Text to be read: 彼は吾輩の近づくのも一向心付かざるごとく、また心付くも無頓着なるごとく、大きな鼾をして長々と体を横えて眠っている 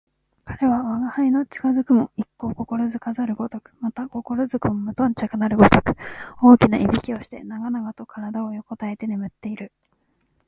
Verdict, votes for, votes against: accepted, 2, 0